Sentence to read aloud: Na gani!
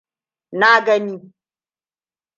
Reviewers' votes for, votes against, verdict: 2, 0, accepted